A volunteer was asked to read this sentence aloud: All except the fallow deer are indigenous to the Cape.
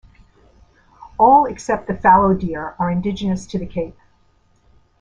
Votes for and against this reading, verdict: 2, 0, accepted